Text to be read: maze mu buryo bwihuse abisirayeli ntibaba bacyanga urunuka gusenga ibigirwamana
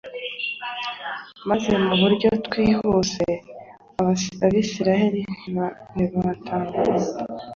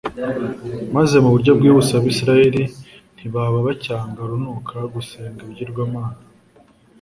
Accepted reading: second